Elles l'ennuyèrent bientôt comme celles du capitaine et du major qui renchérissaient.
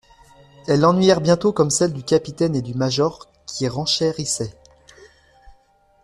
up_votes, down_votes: 2, 0